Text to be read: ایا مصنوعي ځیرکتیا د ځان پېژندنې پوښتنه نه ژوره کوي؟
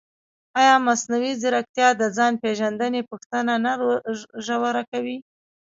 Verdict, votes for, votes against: rejected, 1, 2